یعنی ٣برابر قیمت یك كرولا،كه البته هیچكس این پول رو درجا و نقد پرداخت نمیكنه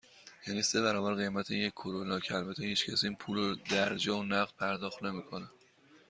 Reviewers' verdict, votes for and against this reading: rejected, 0, 2